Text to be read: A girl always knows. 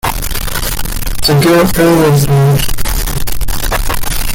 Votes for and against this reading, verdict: 1, 2, rejected